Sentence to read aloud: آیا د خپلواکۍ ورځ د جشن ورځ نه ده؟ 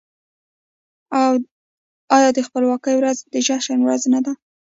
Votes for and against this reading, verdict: 2, 0, accepted